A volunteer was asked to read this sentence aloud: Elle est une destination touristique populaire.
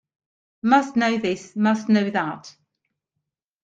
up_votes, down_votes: 0, 2